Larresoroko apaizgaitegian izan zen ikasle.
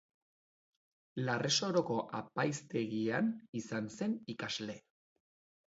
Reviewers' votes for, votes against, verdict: 0, 3, rejected